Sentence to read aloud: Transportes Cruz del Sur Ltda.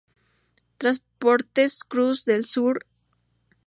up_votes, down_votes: 2, 2